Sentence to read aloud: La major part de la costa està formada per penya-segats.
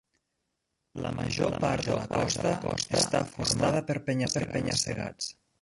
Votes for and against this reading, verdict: 0, 2, rejected